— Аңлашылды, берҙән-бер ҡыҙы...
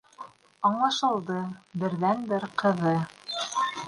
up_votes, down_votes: 2, 0